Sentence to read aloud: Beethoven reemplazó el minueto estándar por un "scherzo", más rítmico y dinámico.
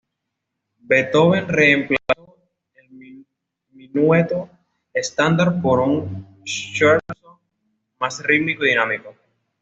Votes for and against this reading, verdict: 2, 0, accepted